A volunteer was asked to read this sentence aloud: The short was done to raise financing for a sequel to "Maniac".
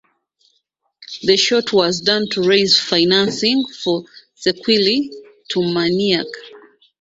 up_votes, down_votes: 1, 2